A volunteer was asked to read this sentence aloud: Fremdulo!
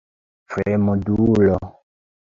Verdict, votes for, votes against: rejected, 1, 3